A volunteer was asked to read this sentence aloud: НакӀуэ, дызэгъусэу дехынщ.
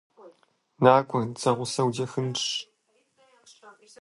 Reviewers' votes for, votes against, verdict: 2, 0, accepted